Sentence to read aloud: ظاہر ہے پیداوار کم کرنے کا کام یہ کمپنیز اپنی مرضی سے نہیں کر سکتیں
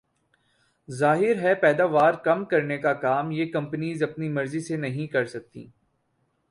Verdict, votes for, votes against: rejected, 2, 2